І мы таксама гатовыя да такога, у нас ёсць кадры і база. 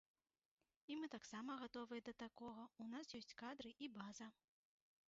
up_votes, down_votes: 0, 3